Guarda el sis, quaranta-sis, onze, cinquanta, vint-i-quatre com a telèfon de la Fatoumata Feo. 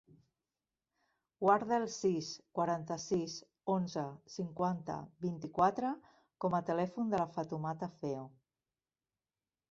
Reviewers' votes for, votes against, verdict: 1, 2, rejected